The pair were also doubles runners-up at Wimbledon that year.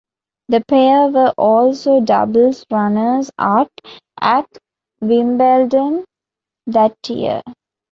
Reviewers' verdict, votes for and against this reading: rejected, 1, 2